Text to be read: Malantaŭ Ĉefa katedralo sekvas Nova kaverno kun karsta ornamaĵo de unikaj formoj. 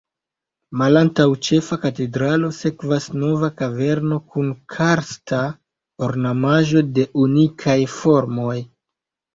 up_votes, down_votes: 0, 2